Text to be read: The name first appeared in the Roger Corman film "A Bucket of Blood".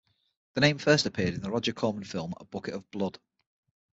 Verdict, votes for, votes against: accepted, 6, 0